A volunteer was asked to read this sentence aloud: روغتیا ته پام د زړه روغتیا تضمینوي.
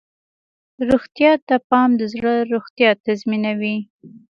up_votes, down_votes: 2, 0